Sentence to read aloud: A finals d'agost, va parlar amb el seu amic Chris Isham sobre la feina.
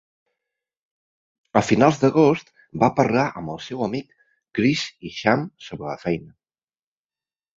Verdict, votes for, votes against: accepted, 3, 0